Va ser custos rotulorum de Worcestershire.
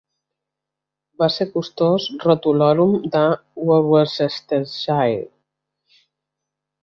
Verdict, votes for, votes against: rejected, 0, 2